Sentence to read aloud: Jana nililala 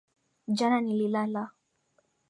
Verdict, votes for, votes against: accepted, 2, 0